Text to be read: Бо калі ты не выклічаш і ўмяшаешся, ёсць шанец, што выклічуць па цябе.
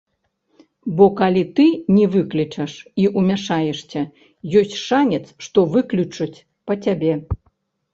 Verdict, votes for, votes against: rejected, 1, 2